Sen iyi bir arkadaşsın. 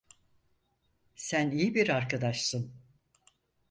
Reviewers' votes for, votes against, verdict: 4, 0, accepted